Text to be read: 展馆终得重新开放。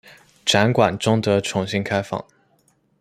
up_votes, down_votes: 2, 1